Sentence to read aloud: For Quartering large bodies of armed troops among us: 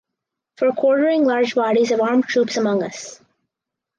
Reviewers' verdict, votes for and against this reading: accepted, 2, 0